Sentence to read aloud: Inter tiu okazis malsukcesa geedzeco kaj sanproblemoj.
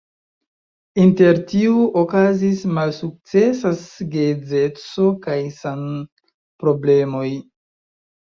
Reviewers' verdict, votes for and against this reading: rejected, 1, 2